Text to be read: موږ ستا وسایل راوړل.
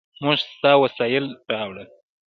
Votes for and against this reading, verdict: 1, 2, rejected